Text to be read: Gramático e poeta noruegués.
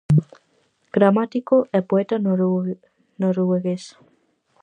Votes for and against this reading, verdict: 0, 4, rejected